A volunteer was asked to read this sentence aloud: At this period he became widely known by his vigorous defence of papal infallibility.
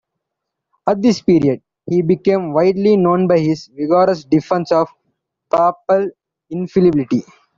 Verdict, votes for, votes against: accepted, 2, 1